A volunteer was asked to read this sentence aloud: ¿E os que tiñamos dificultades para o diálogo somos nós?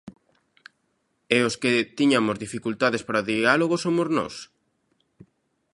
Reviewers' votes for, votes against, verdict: 1, 2, rejected